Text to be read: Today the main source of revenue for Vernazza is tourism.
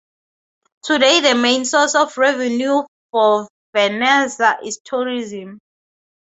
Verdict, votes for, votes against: accepted, 4, 0